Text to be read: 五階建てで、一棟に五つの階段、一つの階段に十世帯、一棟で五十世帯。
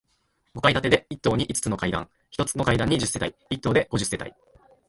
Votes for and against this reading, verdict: 3, 0, accepted